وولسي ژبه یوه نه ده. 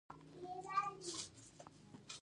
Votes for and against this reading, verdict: 1, 2, rejected